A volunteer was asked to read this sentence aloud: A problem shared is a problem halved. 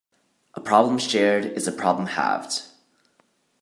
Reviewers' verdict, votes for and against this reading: accepted, 2, 0